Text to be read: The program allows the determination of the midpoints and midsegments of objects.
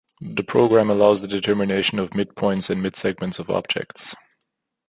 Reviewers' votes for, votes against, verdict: 1, 2, rejected